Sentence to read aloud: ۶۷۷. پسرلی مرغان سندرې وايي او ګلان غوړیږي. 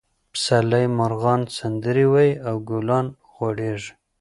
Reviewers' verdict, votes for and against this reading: rejected, 0, 2